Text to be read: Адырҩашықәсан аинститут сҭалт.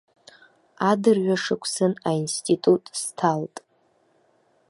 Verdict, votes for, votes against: accepted, 2, 0